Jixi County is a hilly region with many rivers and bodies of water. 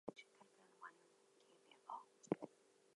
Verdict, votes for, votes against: rejected, 0, 2